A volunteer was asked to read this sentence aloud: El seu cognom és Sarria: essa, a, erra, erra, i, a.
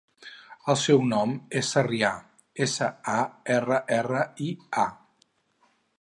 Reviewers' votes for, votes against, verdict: 0, 4, rejected